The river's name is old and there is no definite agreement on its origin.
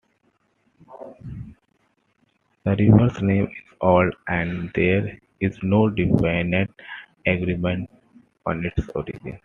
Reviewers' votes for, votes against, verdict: 2, 0, accepted